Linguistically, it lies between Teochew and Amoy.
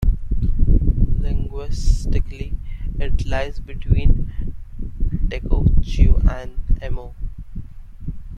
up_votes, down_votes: 0, 2